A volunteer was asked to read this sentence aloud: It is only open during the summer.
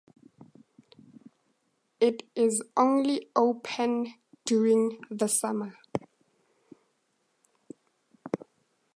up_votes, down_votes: 4, 0